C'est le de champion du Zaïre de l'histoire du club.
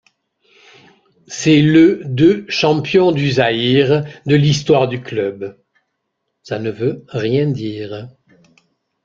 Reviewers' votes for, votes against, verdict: 0, 2, rejected